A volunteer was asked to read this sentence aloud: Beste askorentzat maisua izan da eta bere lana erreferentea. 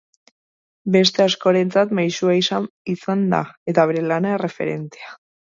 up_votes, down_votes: 0, 2